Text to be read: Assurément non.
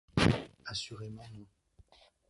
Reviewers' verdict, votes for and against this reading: rejected, 1, 2